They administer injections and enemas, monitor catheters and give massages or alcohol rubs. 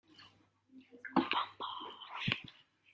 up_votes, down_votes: 0, 2